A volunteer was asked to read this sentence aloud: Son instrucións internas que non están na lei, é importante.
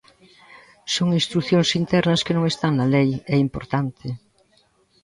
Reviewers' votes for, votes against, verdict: 2, 0, accepted